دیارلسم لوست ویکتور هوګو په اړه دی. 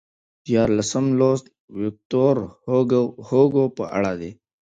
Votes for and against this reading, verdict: 1, 2, rejected